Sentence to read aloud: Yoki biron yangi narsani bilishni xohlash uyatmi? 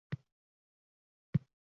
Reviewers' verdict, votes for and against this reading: rejected, 0, 2